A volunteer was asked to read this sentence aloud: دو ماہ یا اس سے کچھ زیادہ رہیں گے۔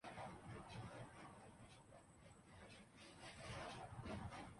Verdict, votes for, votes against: rejected, 0, 3